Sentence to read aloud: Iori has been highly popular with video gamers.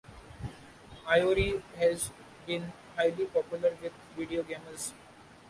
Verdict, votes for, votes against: accepted, 2, 0